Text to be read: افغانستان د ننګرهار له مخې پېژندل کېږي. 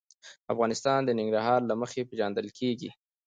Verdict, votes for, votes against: accepted, 2, 0